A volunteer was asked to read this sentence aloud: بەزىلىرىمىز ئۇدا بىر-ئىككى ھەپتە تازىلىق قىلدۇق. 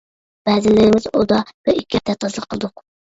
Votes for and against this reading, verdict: 0, 2, rejected